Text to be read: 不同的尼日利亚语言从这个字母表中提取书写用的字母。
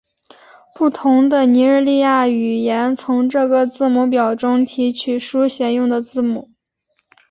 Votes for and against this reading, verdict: 2, 0, accepted